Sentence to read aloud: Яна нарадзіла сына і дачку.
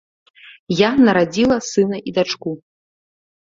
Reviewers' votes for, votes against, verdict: 1, 2, rejected